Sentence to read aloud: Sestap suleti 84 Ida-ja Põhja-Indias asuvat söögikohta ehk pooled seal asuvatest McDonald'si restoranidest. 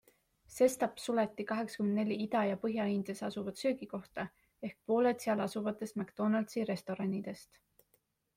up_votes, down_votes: 0, 2